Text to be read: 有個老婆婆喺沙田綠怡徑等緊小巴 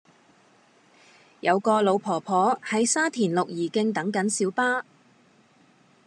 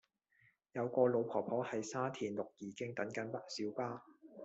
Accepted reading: first